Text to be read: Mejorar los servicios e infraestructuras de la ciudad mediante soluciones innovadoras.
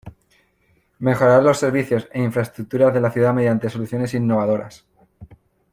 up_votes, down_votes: 2, 0